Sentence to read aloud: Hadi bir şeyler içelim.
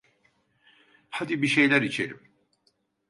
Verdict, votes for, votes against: accepted, 2, 0